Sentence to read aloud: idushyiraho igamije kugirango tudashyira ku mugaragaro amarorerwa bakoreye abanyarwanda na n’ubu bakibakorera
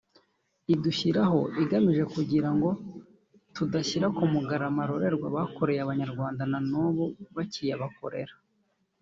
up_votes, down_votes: 1, 2